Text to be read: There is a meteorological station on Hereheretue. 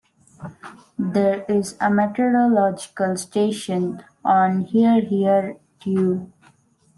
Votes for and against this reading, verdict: 2, 0, accepted